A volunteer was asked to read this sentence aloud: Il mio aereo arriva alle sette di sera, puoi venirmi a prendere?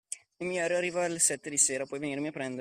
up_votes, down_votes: 2, 1